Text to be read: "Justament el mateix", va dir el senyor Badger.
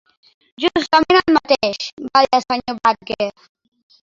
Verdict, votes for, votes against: rejected, 0, 2